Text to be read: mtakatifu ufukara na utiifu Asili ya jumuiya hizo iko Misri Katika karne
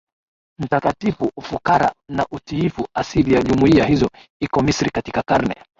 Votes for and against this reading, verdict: 2, 0, accepted